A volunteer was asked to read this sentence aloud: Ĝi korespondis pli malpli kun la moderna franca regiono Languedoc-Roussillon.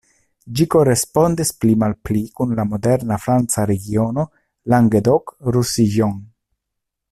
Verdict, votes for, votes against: accepted, 2, 0